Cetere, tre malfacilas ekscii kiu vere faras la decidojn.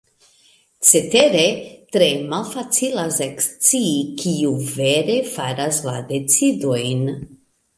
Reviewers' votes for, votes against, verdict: 2, 0, accepted